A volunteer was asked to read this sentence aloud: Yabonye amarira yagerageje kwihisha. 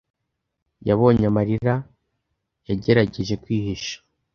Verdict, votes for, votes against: accepted, 2, 0